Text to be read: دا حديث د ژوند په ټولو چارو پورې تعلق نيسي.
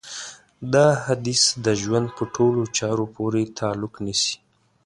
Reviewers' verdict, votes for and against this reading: accepted, 2, 0